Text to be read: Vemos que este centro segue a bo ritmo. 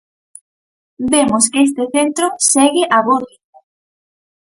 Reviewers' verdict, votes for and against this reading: rejected, 0, 4